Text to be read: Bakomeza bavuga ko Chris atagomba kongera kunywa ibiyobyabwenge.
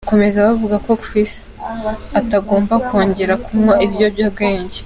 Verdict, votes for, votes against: accepted, 2, 1